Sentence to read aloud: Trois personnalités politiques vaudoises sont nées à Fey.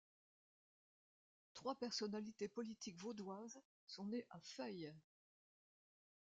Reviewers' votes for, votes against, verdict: 0, 2, rejected